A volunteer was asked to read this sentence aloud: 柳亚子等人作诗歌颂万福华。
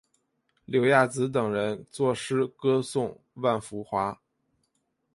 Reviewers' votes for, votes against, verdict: 2, 0, accepted